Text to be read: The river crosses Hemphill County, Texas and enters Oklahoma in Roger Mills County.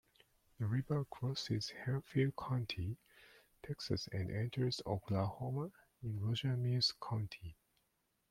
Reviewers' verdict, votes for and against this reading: accepted, 2, 0